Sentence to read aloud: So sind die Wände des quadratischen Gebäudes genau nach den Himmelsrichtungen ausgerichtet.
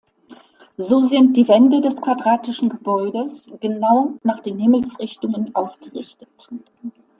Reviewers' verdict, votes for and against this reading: accepted, 2, 0